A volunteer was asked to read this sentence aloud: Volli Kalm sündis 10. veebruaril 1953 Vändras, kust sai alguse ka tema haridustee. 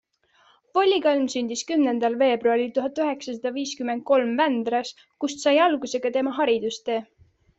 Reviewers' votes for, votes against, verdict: 0, 2, rejected